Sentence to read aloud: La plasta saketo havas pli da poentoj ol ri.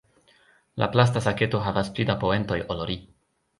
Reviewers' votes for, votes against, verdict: 2, 0, accepted